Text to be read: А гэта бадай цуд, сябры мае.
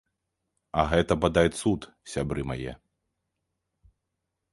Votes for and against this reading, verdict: 3, 0, accepted